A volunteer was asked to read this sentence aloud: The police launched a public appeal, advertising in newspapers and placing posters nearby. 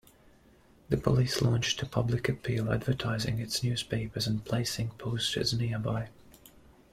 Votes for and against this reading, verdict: 1, 2, rejected